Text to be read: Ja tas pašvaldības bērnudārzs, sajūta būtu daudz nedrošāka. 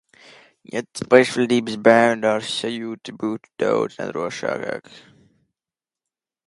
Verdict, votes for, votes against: rejected, 1, 2